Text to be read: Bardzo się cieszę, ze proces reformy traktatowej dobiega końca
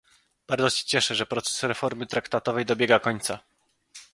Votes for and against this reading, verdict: 0, 2, rejected